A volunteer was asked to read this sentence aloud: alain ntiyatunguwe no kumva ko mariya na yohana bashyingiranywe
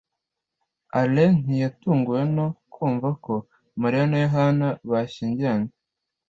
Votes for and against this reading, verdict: 2, 0, accepted